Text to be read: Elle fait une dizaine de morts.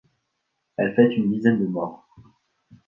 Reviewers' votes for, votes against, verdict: 3, 0, accepted